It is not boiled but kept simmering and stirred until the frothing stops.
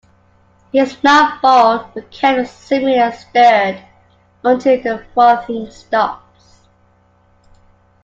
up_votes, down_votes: 2, 1